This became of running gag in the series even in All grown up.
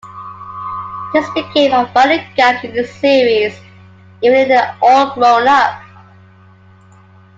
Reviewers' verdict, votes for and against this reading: accepted, 2, 0